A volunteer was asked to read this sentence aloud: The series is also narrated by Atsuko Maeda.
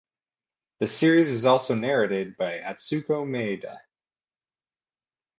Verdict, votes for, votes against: accepted, 2, 0